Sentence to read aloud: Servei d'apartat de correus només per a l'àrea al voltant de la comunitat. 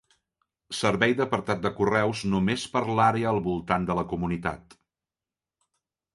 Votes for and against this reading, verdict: 0, 2, rejected